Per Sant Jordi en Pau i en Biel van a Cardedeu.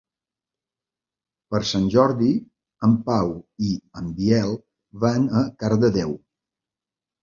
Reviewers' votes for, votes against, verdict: 3, 0, accepted